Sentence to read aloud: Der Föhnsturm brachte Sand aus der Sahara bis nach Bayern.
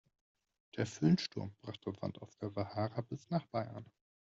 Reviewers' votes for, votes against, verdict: 2, 0, accepted